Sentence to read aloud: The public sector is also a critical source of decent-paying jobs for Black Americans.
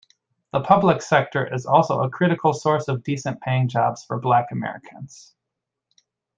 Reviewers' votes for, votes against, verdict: 2, 0, accepted